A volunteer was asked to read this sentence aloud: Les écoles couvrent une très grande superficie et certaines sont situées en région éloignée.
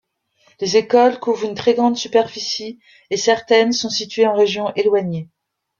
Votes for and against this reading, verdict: 2, 0, accepted